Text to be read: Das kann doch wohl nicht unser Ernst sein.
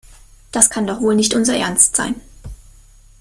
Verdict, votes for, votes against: accepted, 2, 0